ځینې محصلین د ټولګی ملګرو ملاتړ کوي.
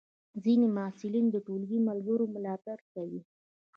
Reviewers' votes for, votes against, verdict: 1, 2, rejected